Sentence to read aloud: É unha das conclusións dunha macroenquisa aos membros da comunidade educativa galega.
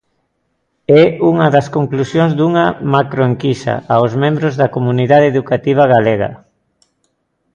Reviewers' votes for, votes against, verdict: 2, 0, accepted